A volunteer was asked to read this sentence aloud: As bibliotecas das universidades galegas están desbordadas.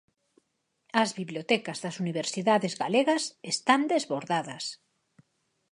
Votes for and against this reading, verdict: 6, 0, accepted